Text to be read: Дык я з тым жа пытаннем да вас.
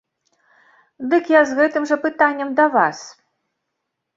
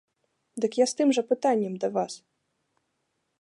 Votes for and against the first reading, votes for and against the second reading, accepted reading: 0, 3, 2, 0, second